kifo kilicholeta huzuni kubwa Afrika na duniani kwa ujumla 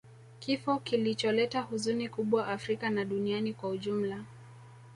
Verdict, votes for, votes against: rejected, 0, 2